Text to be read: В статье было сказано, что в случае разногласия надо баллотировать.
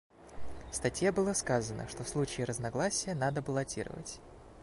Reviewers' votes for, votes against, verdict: 2, 0, accepted